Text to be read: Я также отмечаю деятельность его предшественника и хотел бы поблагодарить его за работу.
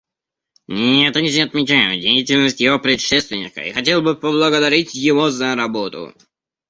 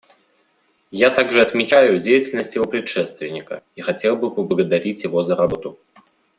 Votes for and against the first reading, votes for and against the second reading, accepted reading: 1, 2, 2, 0, second